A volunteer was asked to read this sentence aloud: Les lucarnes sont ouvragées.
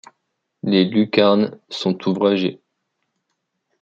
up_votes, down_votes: 2, 0